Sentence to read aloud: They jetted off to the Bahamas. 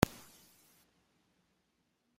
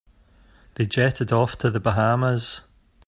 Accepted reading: second